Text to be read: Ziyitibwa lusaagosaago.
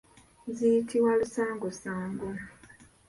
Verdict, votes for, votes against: rejected, 1, 2